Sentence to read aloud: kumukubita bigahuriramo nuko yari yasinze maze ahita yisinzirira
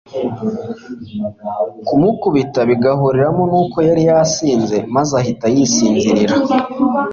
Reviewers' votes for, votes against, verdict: 2, 0, accepted